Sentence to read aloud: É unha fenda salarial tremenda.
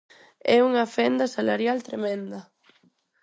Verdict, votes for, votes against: accepted, 4, 0